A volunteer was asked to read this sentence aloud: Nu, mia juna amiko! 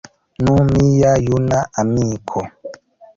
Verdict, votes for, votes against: rejected, 1, 3